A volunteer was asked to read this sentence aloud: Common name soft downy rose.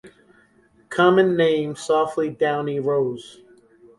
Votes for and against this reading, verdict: 0, 2, rejected